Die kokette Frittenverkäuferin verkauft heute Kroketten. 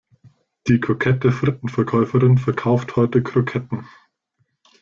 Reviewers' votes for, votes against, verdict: 2, 0, accepted